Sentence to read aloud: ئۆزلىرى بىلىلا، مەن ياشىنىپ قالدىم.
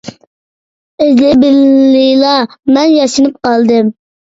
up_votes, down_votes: 1, 2